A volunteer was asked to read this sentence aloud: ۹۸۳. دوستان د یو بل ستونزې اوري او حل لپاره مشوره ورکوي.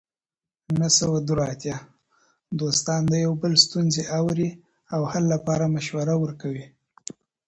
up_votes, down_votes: 0, 2